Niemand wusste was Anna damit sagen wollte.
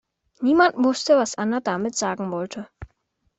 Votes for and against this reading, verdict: 2, 0, accepted